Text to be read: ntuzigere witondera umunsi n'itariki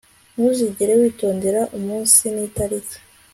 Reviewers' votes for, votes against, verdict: 2, 0, accepted